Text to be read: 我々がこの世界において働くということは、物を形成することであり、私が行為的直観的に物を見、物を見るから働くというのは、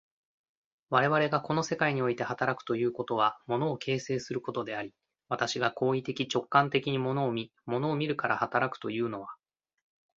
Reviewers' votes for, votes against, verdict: 2, 0, accepted